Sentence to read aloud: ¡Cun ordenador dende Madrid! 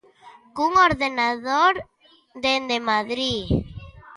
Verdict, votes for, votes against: accepted, 2, 0